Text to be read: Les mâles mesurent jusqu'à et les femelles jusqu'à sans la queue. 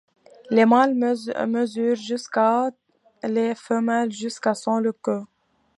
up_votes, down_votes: 0, 2